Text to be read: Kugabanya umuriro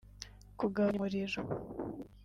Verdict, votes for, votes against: rejected, 1, 3